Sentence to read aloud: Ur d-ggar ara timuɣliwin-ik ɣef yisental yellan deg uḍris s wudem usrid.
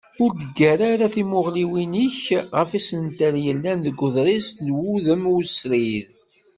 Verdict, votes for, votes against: rejected, 1, 2